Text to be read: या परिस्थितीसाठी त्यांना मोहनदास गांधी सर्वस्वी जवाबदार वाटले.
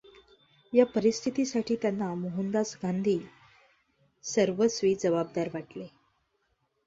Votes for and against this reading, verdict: 2, 0, accepted